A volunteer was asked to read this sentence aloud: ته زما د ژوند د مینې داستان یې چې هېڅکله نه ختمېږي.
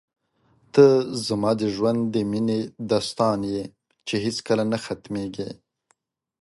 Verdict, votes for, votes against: accepted, 2, 0